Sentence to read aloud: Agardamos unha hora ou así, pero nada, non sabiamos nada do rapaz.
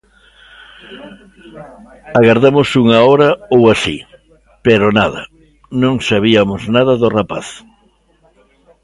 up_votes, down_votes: 1, 2